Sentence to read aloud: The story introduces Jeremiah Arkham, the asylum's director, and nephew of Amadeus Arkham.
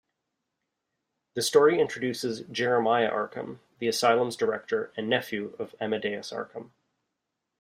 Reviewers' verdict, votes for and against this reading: accepted, 2, 0